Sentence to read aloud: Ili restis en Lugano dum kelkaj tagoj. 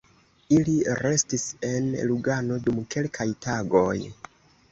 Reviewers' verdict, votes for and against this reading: accepted, 2, 0